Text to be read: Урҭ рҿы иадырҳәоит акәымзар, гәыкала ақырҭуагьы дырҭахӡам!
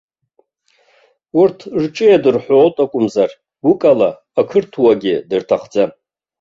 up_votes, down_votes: 2, 0